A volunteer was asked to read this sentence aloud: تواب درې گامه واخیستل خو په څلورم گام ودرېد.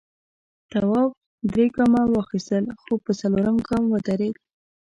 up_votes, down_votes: 2, 1